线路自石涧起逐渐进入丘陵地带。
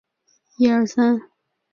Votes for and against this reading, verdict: 0, 2, rejected